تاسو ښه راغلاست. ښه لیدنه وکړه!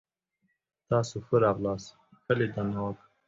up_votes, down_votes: 0, 2